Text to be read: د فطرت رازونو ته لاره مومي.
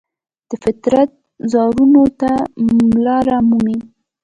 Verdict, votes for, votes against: rejected, 1, 2